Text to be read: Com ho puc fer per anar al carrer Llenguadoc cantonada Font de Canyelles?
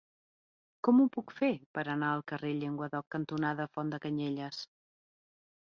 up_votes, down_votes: 3, 0